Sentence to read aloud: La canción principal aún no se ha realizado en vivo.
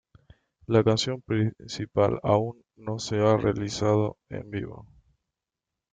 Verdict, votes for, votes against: accepted, 2, 0